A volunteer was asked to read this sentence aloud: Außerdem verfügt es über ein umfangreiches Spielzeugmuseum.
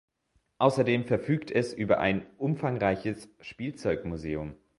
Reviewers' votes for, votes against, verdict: 2, 0, accepted